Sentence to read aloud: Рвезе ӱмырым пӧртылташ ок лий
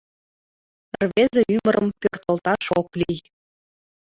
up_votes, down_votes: 2, 1